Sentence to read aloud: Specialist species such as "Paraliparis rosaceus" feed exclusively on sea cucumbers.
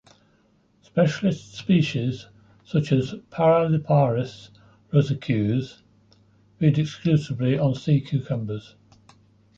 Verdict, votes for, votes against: accepted, 2, 0